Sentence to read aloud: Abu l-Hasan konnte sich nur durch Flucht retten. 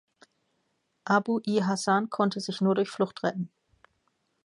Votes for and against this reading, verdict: 2, 0, accepted